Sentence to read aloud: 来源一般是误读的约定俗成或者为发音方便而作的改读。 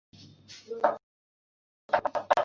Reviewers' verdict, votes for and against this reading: rejected, 1, 4